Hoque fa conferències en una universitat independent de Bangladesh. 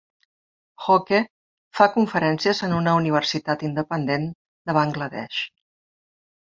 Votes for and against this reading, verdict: 0, 2, rejected